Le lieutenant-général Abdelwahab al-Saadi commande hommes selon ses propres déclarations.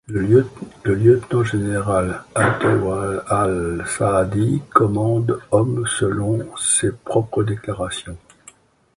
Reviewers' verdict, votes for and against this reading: rejected, 0, 2